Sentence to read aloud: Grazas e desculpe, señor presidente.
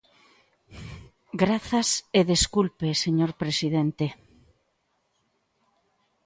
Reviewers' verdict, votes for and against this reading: accepted, 2, 0